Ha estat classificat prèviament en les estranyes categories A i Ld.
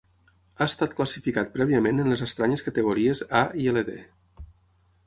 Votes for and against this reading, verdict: 6, 0, accepted